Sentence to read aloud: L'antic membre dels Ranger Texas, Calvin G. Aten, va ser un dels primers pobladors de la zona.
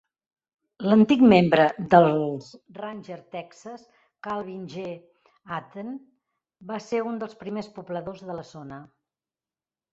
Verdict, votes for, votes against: rejected, 1, 3